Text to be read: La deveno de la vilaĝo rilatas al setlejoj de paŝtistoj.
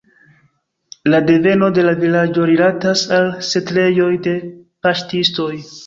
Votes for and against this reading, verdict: 2, 0, accepted